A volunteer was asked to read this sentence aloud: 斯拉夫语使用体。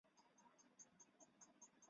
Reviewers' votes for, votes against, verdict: 0, 2, rejected